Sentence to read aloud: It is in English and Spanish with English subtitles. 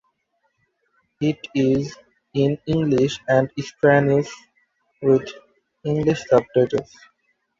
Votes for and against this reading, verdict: 1, 2, rejected